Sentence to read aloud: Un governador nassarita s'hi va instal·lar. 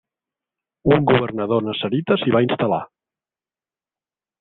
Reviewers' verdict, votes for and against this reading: rejected, 1, 2